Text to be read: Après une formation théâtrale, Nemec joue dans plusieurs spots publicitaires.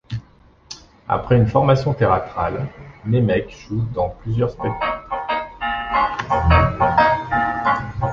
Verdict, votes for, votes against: rejected, 0, 2